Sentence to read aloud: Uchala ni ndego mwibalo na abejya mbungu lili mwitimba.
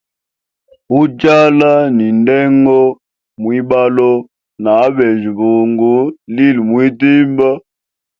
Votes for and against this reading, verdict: 2, 1, accepted